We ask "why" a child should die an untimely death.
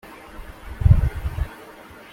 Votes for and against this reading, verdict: 0, 2, rejected